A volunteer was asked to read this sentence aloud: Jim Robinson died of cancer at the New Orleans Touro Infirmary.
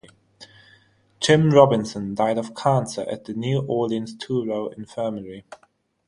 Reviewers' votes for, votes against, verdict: 3, 3, rejected